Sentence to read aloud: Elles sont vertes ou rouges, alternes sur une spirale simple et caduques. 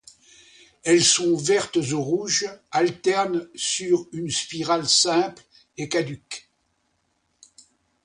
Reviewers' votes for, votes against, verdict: 2, 0, accepted